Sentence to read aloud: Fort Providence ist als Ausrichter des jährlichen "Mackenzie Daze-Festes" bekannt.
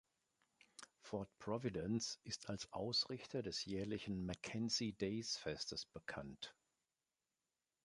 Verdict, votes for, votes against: accepted, 2, 0